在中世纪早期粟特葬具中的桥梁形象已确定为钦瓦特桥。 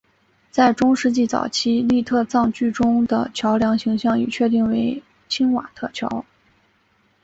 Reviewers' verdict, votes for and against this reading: accepted, 3, 0